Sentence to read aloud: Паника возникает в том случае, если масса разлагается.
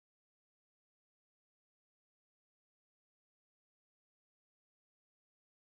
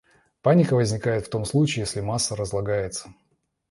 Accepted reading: second